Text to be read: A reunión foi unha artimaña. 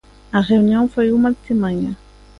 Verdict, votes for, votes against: accepted, 2, 0